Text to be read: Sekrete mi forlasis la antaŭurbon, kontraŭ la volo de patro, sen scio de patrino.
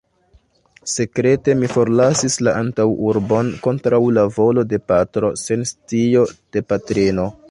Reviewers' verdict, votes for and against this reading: accepted, 2, 1